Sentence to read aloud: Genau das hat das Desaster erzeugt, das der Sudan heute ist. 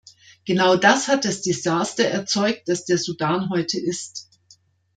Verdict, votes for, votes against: accepted, 2, 0